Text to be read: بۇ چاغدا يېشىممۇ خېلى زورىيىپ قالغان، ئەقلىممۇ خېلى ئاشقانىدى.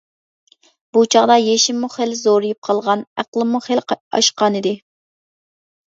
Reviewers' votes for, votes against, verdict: 1, 2, rejected